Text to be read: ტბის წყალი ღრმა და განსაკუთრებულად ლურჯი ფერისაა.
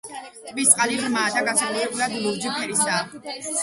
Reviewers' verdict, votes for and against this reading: rejected, 0, 2